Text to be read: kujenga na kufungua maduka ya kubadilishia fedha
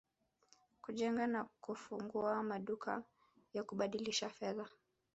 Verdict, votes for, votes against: accepted, 2, 0